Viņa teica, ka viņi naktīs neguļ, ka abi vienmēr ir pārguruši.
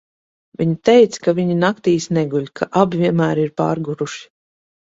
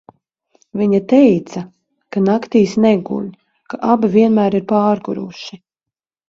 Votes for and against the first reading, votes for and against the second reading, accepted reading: 2, 0, 0, 2, first